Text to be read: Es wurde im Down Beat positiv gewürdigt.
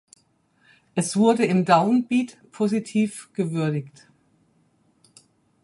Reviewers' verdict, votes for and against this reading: accepted, 4, 2